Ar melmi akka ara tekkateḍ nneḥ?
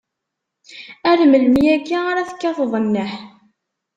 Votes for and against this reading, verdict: 2, 0, accepted